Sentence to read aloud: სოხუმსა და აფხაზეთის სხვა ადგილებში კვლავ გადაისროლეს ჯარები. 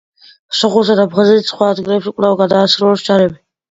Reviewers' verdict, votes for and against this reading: accepted, 2, 1